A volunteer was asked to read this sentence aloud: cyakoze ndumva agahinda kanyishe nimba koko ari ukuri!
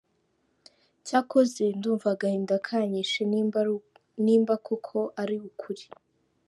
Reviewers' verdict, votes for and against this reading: rejected, 0, 2